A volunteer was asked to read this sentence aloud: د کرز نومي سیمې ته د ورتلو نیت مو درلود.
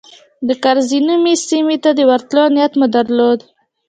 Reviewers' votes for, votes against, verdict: 2, 0, accepted